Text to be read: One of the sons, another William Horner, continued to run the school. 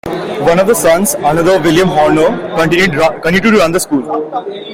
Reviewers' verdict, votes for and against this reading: rejected, 1, 2